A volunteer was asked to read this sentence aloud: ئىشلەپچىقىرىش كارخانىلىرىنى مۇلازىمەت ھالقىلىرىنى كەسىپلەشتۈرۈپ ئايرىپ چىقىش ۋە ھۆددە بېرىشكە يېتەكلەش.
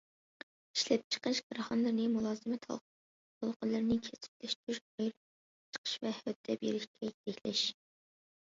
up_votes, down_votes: 0, 2